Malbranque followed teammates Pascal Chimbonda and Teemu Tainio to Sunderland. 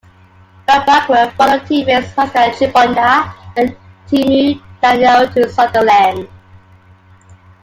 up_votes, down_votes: 1, 2